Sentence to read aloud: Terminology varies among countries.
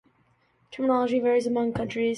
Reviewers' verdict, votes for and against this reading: rejected, 1, 2